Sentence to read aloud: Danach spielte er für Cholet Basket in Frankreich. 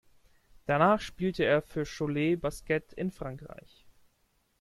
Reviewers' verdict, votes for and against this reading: accepted, 2, 0